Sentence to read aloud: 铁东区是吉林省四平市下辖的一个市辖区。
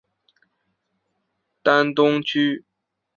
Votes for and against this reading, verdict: 1, 2, rejected